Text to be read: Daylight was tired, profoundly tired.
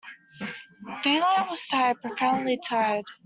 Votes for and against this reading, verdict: 0, 2, rejected